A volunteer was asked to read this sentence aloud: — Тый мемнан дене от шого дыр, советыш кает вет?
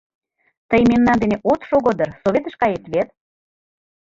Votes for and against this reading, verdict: 2, 0, accepted